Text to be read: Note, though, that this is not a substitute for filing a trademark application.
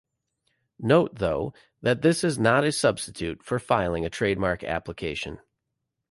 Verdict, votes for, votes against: accepted, 3, 0